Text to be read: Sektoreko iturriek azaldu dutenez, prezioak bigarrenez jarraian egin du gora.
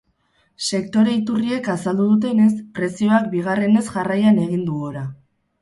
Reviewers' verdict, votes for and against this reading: rejected, 2, 4